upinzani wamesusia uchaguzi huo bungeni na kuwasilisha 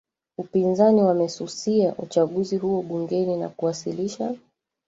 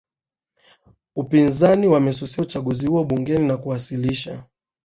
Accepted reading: second